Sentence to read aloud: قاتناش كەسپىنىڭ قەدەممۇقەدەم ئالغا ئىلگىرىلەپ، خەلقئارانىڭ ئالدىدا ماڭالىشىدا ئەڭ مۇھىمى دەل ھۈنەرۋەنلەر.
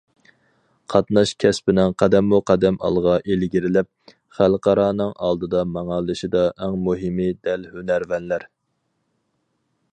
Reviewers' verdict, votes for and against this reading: accepted, 4, 0